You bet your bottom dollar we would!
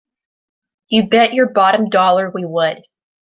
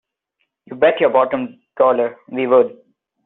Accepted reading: first